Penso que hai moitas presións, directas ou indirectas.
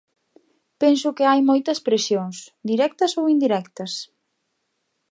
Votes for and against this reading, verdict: 2, 0, accepted